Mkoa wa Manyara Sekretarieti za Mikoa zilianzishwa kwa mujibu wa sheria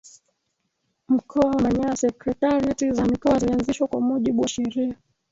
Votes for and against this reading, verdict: 1, 2, rejected